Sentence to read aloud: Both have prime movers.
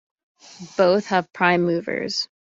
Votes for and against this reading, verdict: 2, 0, accepted